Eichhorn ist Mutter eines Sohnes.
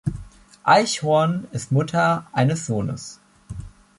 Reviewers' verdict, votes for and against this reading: accepted, 2, 0